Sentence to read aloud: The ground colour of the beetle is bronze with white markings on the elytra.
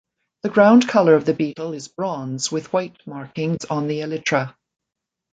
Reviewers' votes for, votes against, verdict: 2, 0, accepted